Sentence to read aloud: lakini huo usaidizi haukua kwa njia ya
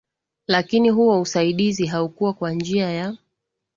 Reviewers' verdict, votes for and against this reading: accepted, 3, 0